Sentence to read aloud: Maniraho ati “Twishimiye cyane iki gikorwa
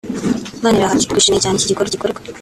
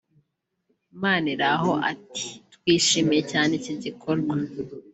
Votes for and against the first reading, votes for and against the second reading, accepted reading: 1, 2, 2, 1, second